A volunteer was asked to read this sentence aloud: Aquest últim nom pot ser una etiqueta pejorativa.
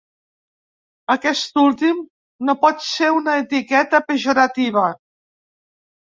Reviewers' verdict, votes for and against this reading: rejected, 2, 3